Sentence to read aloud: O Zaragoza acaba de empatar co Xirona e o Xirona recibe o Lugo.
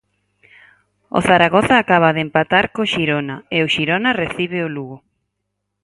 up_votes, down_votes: 4, 0